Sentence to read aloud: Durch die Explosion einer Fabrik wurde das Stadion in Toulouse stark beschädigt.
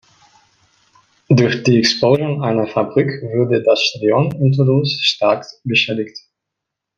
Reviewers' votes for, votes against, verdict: 0, 2, rejected